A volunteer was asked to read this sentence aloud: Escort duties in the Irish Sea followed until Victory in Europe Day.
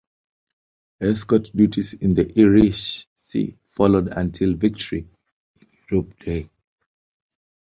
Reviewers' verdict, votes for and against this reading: rejected, 0, 2